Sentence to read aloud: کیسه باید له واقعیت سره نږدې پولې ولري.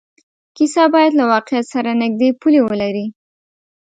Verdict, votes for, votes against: accepted, 2, 0